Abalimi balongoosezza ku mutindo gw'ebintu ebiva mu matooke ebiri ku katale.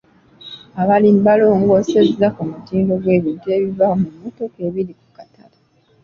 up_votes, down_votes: 0, 2